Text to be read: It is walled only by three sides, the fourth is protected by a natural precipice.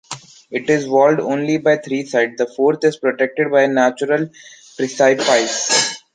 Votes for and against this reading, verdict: 0, 2, rejected